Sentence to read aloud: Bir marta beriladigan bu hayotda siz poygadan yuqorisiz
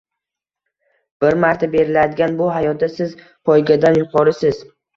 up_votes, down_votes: 2, 0